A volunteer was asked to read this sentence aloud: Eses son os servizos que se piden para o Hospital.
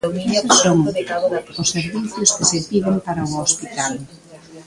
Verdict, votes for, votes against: rejected, 0, 2